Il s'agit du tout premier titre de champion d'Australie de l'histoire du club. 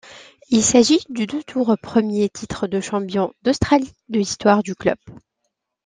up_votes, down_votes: 0, 2